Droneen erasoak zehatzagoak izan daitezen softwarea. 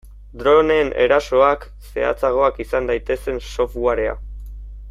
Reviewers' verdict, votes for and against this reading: accepted, 2, 0